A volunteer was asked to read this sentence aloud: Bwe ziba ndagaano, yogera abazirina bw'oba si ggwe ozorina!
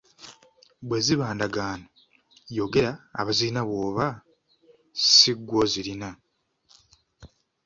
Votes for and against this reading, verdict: 1, 2, rejected